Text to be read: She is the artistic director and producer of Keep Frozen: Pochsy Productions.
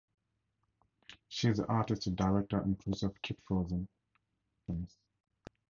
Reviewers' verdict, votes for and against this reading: accepted, 2, 0